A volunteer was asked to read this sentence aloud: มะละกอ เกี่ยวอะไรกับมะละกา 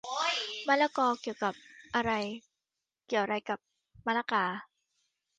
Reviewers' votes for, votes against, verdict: 0, 2, rejected